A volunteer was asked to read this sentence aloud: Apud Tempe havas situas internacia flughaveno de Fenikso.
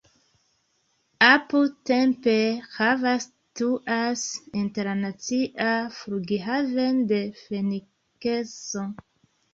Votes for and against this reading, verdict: 0, 2, rejected